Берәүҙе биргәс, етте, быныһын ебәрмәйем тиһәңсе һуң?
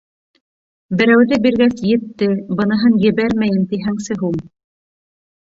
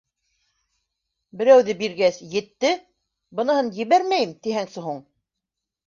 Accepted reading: second